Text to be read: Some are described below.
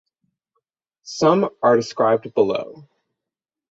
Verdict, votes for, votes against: rejected, 3, 3